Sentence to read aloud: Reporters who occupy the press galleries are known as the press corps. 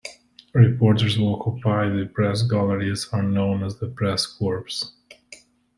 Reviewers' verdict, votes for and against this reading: rejected, 1, 2